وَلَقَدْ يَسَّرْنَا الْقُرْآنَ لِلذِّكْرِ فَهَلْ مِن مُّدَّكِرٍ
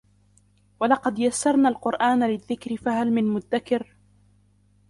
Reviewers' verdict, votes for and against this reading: rejected, 0, 2